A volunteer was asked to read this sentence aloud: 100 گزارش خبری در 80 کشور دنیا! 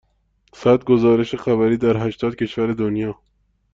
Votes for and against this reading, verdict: 0, 2, rejected